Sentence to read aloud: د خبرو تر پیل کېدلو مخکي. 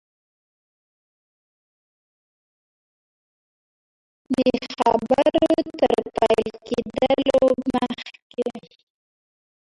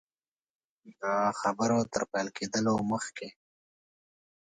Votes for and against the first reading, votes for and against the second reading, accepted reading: 1, 2, 2, 0, second